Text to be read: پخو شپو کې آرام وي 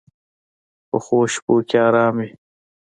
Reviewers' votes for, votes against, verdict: 2, 1, accepted